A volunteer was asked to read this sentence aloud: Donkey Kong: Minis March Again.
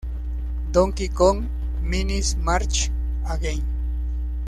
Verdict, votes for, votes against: rejected, 1, 2